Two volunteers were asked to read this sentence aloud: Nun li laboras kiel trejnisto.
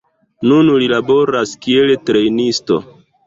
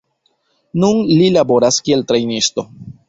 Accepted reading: second